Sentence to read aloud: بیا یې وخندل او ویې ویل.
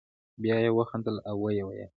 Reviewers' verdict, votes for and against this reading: rejected, 1, 2